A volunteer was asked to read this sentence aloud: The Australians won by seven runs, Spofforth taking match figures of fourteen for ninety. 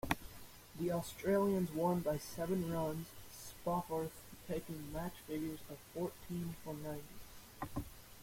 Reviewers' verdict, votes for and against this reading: accepted, 2, 0